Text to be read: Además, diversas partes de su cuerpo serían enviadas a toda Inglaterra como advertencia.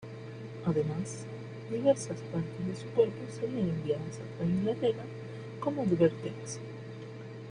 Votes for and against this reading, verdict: 2, 0, accepted